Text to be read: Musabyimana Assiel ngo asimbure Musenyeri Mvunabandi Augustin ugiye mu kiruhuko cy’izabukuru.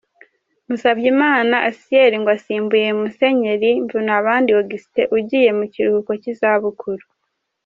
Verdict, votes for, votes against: rejected, 0, 2